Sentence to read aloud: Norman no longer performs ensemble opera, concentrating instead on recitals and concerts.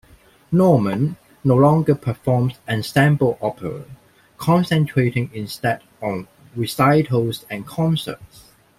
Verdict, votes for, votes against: rejected, 1, 2